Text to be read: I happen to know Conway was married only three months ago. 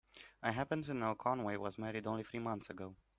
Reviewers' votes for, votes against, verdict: 2, 1, accepted